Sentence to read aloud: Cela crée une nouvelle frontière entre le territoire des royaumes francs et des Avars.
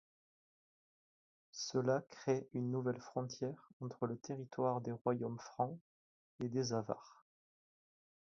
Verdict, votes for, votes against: accepted, 4, 0